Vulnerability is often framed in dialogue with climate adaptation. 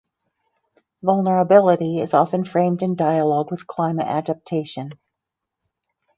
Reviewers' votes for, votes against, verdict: 4, 0, accepted